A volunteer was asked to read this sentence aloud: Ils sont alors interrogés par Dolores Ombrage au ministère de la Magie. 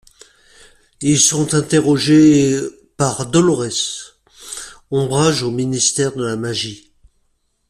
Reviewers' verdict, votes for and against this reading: rejected, 0, 2